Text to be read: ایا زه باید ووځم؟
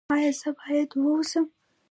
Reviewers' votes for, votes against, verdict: 0, 2, rejected